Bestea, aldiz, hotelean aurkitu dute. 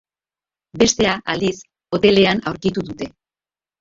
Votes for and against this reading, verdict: 2, 0, accepted